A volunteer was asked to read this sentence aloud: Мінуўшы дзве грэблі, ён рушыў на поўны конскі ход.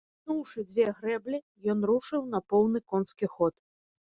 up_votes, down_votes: 1, 2